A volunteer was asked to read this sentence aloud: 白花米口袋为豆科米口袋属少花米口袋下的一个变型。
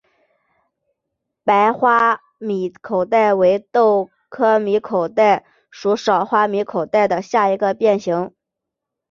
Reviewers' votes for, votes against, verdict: 2, 0, accepted